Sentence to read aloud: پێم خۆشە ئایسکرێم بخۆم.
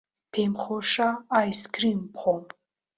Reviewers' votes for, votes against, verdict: 2, 0, accepted